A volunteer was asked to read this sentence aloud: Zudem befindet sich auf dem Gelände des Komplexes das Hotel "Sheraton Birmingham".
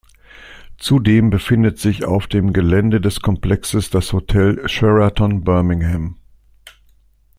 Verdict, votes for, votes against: accepted, 2, 0